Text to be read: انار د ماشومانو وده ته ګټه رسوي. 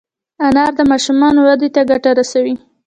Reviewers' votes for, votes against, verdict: 1, 2, rejected